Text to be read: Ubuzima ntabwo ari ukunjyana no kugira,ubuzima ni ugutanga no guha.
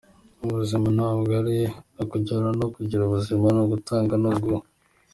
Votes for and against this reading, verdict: 1, 2, rejected